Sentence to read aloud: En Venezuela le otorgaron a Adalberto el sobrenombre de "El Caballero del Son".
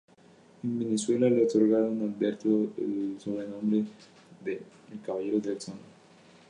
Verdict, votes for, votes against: rejected, 2, 2